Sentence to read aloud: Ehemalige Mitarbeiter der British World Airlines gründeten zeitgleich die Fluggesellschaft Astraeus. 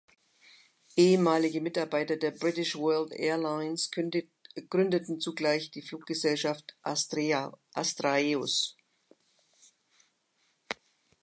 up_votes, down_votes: 0, 2